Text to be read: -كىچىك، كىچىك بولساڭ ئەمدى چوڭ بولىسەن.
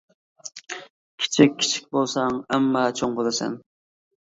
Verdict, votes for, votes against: rejected, 0, 2